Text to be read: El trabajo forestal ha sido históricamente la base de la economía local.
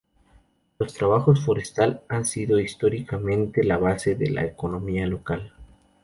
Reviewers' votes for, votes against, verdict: 0, 2, rejected